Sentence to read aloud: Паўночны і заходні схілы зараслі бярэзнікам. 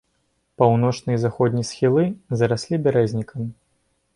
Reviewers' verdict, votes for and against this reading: rejected, 0, 2